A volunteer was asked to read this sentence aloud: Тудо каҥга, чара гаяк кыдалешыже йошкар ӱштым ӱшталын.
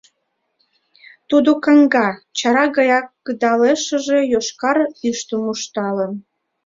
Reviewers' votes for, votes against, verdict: 0, 2, rejected